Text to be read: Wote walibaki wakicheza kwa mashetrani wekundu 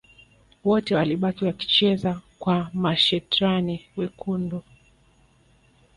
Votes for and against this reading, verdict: 2, 3, rejected